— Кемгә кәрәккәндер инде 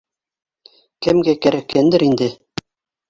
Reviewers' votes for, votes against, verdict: 2, 1, accepted